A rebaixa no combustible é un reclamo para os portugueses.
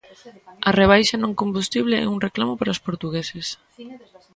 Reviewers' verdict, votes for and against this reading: rejected, 0, 2